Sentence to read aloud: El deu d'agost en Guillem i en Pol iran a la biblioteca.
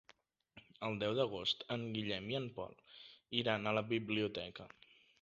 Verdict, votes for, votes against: accepted, 3, 0